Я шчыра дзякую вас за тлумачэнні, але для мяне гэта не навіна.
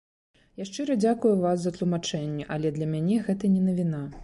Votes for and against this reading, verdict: 2, 0, accepted